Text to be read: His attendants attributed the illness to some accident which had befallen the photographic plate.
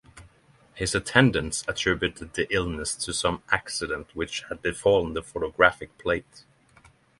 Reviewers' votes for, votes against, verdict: 3, 0, accepted